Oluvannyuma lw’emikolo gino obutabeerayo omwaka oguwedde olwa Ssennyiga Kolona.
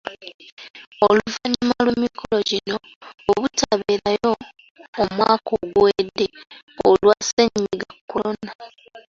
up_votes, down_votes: 2, 0